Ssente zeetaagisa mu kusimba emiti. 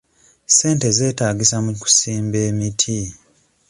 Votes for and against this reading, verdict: 2, 0, accepted